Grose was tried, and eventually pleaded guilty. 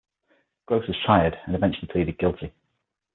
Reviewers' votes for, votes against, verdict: 3, 6, rejected